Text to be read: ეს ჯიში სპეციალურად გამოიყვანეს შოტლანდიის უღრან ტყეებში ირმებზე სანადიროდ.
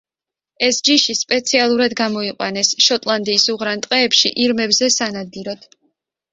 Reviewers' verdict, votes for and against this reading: accepted, 2, 0